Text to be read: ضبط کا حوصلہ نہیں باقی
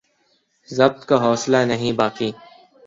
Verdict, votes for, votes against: accepted, 2, 0